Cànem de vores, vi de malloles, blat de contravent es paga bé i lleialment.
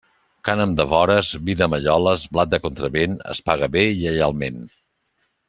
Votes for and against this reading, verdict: 2, 0, accepted